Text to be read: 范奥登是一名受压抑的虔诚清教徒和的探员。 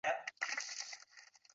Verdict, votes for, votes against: rejected, 0, 2